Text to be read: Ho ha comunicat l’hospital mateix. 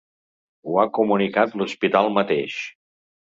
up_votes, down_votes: 4, 0